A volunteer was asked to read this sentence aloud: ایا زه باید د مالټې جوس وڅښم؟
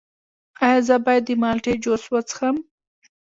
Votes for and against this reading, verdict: 1, 2, rejected